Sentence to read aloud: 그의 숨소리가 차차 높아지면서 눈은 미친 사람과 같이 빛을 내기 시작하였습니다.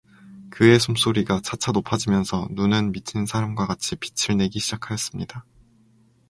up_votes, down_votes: 2, 0